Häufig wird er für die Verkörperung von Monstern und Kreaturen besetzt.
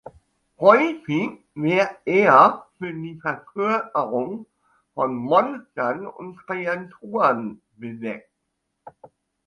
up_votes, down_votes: 1, 2